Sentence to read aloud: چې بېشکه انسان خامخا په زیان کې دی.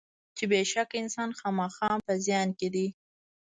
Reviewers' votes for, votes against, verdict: 0, 2, rejected